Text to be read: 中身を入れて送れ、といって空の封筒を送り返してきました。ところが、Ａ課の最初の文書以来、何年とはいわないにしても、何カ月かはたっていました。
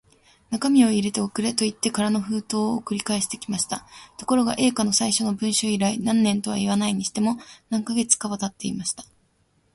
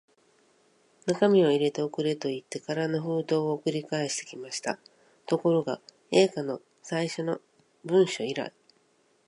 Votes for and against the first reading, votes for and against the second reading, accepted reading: 2, 1, 1, 2, first